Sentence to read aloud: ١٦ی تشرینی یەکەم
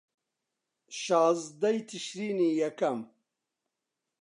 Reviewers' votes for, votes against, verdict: 0, 2, rejected